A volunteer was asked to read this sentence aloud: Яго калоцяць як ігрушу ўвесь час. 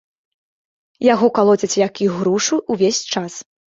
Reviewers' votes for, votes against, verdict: 2, 0, accepted